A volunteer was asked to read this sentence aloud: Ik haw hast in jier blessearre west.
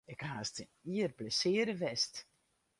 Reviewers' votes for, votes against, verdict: 0, 4, rejected